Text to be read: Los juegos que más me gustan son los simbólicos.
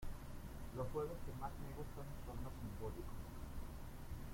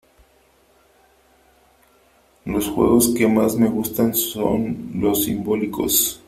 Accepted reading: second